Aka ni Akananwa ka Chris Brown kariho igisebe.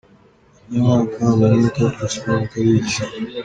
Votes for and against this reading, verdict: 1, 2, rejected